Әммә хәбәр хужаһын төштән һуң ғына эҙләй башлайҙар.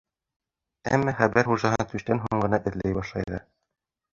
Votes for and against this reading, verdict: 1, 2, rejected